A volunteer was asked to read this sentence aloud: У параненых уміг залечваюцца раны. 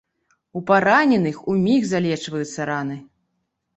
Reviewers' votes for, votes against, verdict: 3, 0, accepted